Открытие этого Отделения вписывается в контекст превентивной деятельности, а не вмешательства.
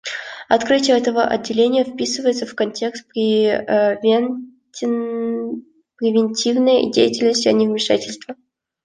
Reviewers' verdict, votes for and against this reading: rejected, 0, 2